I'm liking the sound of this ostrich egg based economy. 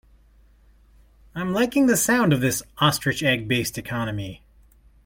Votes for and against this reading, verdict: 2, 0, accepted